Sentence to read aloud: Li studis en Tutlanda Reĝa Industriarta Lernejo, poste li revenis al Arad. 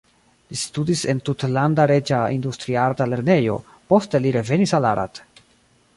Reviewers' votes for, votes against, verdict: 1, 2, rejected